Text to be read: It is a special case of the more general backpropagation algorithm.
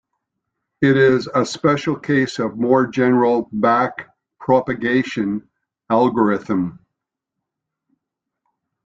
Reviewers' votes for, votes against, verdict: 1, 2, rejected